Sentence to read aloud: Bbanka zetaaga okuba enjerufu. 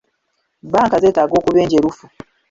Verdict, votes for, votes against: rejected, 0, 2